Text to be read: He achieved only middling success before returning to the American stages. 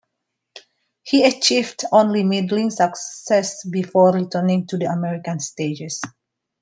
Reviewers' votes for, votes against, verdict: 2, 1, accepted